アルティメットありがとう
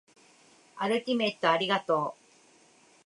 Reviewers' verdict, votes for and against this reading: accepted, 2, 1